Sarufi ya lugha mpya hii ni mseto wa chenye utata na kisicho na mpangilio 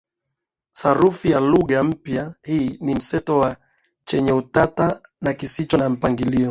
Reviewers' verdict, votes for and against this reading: accepted, 2, 1